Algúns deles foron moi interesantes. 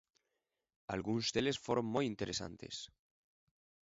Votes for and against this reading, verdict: 2, 0, accepted